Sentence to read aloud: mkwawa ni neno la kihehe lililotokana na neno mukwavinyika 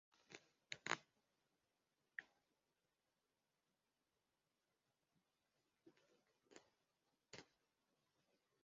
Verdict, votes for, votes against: rejected, 0, 2